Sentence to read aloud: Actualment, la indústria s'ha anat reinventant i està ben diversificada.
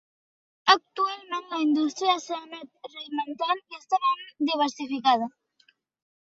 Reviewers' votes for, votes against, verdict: 2, 1, accepted